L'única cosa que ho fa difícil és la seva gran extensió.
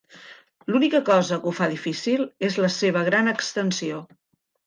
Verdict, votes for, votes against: accepted, 3, 0